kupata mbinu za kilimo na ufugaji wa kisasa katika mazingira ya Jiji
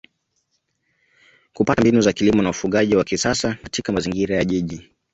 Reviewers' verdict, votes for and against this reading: accepted, 2, 0